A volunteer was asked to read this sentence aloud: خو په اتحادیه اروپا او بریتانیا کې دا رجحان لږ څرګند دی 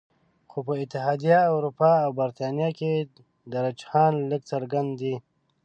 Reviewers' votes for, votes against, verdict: 0, 2, rejected